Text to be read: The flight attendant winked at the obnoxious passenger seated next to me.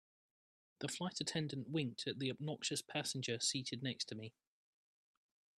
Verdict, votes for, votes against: accepted, 2, 0